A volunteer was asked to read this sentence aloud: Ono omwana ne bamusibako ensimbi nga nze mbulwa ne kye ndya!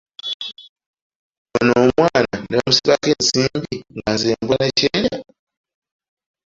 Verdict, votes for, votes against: rejected, 0, 2